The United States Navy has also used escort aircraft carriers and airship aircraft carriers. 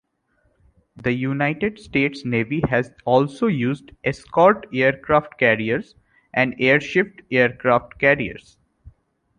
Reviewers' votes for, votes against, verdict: 2, 0, accepted